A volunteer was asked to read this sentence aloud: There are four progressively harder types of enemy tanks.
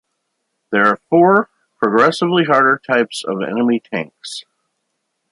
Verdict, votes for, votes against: accepted, 2, 0